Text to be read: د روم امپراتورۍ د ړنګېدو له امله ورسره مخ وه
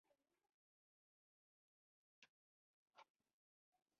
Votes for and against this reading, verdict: 0, 2, rejected